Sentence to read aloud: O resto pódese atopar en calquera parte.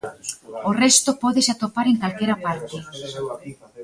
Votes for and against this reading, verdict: 0, 2, rejected